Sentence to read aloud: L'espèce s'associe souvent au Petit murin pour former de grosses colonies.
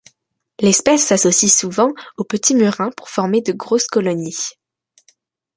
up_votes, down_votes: 2, 1